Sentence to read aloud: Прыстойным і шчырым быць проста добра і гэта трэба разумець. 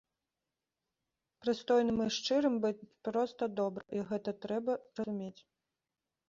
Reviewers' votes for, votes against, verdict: 0, 2, rejected